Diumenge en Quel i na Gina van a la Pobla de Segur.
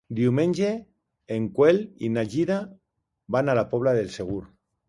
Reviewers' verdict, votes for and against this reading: rejected, 0, 2